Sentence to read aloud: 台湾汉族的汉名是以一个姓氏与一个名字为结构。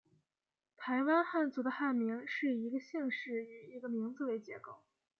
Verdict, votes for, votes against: rejected, 1, 2